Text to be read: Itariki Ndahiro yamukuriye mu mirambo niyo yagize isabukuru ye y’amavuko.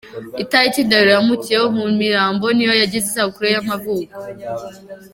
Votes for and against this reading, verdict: 1, 2, rejected